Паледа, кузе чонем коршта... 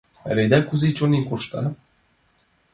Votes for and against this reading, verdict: 2, 0, accepted